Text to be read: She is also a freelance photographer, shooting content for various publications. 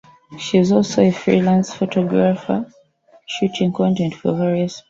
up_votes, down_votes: 0, 2